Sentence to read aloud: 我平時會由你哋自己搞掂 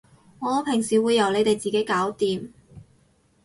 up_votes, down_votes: 6, 0